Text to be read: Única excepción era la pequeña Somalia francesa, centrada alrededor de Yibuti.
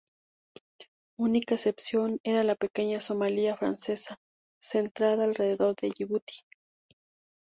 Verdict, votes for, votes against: accepted, 4, 0